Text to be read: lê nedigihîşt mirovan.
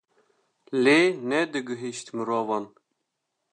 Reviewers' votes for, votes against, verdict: 2, 0, accepted